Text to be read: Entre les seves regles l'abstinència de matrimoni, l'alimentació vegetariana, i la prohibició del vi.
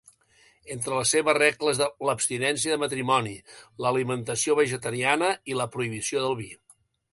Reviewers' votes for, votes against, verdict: 1, 2, rejected